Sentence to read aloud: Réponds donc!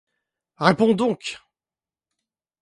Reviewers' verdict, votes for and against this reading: rejected, 1, 2